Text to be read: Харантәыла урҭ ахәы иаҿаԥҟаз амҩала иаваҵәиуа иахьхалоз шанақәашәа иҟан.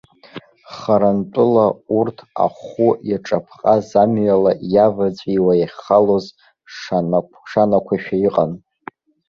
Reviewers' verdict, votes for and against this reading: rejected, 0, 2